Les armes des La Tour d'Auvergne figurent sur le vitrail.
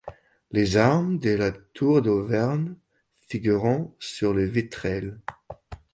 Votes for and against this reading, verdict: 0, 3, rejected